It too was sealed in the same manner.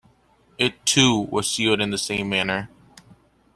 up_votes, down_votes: 2, 0